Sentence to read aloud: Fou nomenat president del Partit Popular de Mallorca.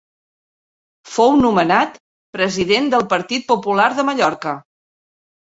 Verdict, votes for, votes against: accepted, 2, 0